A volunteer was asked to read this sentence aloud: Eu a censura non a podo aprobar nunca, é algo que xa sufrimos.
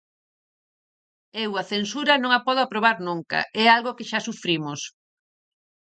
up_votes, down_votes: 4, 0